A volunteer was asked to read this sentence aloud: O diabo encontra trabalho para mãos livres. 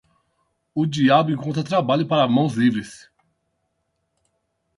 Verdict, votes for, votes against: accepted, 8, 0